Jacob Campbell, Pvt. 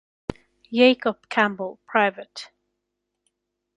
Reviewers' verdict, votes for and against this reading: accepted, 2, 0